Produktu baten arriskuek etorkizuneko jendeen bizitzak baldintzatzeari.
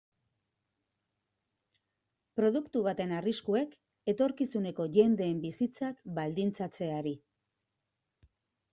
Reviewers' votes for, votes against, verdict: 2, 0, accepted